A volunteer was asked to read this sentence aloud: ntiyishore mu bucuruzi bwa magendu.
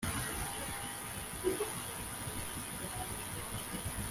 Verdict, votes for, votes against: rejected, 0, 2